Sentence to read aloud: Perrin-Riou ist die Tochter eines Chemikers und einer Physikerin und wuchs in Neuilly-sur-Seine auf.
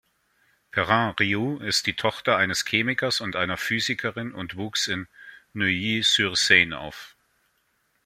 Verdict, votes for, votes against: accepted, 2, 0